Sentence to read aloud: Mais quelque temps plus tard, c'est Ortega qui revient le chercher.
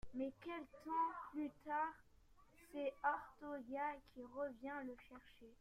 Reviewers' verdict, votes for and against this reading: rejected, 0, 2